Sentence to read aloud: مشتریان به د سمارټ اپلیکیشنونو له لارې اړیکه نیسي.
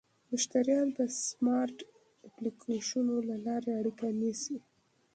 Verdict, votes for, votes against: accepted, 2, 0